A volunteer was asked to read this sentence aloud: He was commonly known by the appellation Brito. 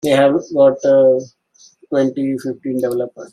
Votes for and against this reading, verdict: 0, 3, rejected